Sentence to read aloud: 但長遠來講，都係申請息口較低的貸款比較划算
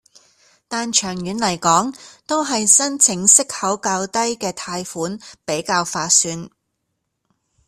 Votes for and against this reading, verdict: 2, 0, accepted